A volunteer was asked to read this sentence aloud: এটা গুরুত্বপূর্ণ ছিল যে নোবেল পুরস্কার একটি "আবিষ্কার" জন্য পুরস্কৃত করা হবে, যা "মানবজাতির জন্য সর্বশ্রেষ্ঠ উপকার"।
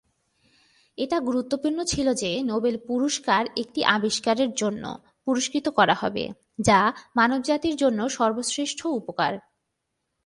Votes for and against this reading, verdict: 2, 1, accepted